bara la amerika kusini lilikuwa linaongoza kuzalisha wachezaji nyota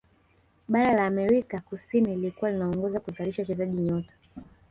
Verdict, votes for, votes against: rejected, 0, 2